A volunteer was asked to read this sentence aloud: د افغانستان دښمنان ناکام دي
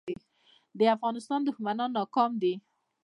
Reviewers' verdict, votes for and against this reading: accepted, 2, 1